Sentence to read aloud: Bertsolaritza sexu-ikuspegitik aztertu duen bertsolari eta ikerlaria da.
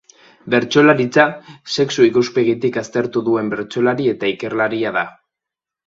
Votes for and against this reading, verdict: 2, 1, accepted